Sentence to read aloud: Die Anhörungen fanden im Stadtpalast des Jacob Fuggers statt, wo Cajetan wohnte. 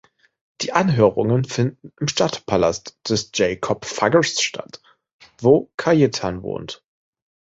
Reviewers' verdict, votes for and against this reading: rejected, 0, 2